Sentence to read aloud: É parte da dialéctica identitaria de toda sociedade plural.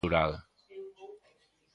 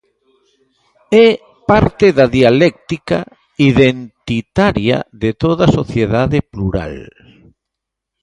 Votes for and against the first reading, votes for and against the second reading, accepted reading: 0, 2, 2, 1, second